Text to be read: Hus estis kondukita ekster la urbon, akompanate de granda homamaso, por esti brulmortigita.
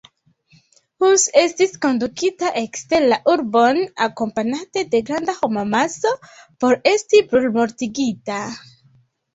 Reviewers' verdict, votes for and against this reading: accepted, 2, 0